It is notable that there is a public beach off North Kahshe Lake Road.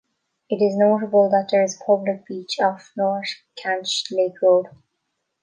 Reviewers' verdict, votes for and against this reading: rejected, 0, 2